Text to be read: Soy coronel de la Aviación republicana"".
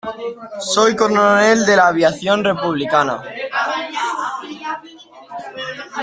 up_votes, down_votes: 1, 2